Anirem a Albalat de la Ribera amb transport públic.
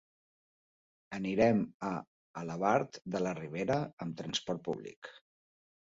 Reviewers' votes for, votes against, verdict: 0, 2, rejected